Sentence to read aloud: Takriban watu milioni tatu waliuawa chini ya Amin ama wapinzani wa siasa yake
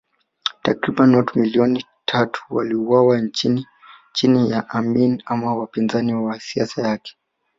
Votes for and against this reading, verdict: 2, 0, accepted